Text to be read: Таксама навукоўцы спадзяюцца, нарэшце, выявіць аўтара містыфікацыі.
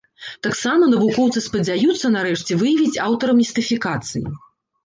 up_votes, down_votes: 2, 0